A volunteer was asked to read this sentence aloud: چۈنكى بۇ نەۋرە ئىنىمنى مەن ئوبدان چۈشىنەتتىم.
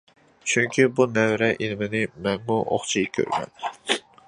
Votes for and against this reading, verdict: 0, 2, rejected